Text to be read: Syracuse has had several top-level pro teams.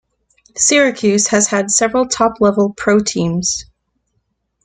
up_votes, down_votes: 2, 0